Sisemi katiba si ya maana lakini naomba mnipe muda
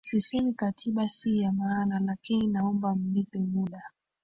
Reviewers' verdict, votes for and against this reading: accepted, 2, 1